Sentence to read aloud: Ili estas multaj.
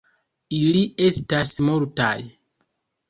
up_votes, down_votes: 1, 2